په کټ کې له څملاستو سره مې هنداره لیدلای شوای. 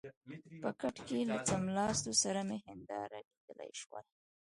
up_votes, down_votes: 0, 2